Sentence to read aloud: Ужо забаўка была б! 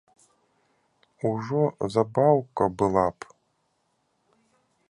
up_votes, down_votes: 2, 0